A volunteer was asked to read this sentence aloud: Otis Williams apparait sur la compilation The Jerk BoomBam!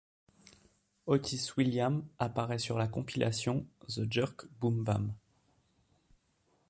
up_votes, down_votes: 0, 2